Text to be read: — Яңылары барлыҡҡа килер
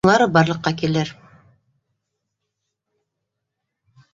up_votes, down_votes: 0, 2